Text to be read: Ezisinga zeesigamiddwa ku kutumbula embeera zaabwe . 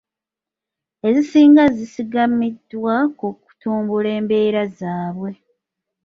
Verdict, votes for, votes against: rejected, 0, 2